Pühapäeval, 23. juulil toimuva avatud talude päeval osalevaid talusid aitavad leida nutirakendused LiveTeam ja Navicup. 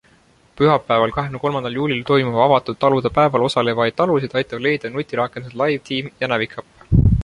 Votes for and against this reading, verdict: 0, 2, rejected